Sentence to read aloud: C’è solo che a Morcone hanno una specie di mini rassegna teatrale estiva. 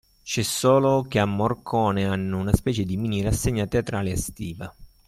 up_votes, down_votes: 2, 0